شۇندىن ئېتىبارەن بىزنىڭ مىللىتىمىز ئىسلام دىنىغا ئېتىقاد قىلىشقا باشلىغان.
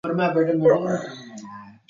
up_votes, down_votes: 0, 2